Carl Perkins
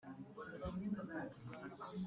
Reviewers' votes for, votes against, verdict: 0, 3, rejected